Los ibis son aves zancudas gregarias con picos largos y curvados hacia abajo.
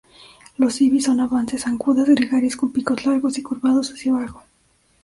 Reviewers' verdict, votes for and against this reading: rejected, 0, 3